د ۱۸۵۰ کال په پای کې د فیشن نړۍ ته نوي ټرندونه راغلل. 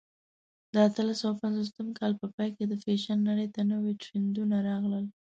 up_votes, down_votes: 0, 2